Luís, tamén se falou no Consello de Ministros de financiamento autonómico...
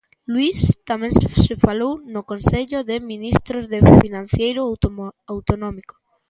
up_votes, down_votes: 0, 2